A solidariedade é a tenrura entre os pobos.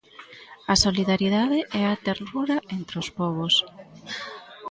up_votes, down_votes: 0, 2